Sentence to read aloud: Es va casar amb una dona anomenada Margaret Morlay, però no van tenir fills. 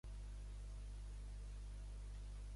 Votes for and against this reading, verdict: 0, 2, rejected